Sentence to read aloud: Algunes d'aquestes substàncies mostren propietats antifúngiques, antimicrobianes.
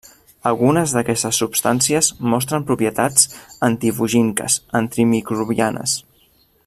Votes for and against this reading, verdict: 0, 2, rejected